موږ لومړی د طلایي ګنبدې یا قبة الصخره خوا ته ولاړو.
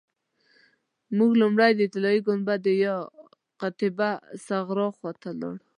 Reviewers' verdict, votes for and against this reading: rejected, 1, 2